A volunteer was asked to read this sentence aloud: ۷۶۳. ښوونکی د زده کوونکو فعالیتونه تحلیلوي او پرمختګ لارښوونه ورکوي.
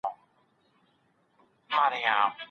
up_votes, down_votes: 0, 2